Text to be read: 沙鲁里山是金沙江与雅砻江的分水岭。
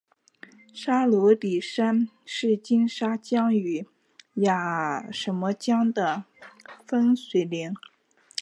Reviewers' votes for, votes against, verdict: 4, 0, accepted